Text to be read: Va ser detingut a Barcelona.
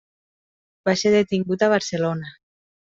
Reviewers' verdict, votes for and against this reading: accepted, 3, 0